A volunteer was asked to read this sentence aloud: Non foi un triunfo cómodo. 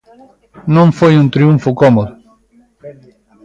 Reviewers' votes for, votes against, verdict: 0, 2, rejected